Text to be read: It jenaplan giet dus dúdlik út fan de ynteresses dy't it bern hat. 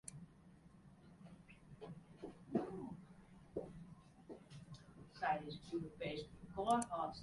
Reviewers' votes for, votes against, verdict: 0, 2, rejected